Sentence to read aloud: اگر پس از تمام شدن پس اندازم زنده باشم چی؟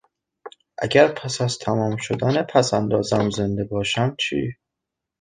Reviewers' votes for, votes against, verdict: 2, 0, accepted